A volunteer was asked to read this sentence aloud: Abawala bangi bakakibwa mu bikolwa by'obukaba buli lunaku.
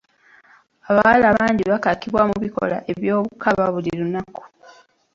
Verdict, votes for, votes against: rejected, 0, 2